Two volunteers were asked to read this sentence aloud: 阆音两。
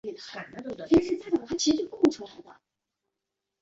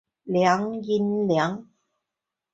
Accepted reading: second